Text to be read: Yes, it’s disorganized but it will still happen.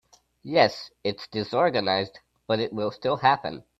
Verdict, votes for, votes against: accepted, 2, 0